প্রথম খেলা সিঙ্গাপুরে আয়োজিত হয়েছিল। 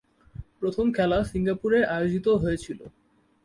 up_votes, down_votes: 5, 0